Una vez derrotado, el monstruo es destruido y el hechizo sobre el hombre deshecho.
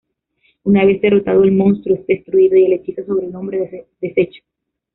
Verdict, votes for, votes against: rejected, 1, 2